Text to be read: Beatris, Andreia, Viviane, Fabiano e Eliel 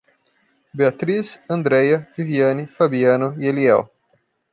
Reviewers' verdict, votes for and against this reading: accepted, 2, 0